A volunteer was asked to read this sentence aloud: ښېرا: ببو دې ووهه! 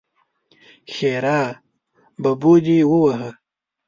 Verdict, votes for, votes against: rejected, 0, 2